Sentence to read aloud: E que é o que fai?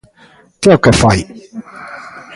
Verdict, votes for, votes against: rejected, 0, 2